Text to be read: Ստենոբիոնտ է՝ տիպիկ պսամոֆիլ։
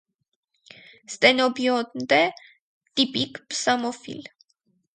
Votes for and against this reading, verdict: 0, 4, rejected